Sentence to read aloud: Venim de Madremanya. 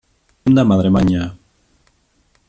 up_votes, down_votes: 0, 2